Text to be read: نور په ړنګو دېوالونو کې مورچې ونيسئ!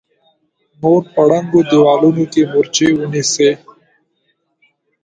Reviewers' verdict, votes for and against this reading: accepted, 2, 0